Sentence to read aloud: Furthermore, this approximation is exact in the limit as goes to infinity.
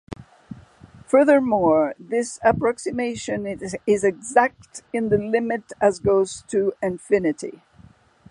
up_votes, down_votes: 2, 0